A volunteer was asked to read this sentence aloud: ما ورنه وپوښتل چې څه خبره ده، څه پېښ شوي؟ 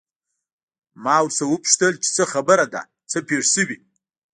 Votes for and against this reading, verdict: 1, 2, rejected